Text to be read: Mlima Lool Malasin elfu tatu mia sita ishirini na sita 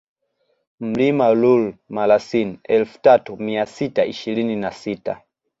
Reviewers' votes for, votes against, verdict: 2, 0, accepted